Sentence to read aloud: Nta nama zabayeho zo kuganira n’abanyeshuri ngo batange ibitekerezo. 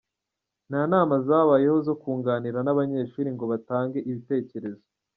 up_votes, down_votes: 0, 2